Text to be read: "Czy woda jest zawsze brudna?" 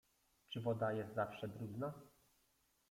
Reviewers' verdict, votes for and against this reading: rejected, 1, 2